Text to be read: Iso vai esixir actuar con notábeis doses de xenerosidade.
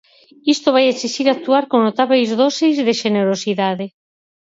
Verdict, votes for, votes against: rejected, 0, 4